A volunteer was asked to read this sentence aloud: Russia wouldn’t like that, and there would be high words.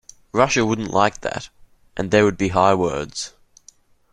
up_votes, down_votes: 2, 0